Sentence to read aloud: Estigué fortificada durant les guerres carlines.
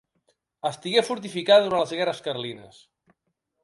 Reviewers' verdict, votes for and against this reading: accepted, 2, 0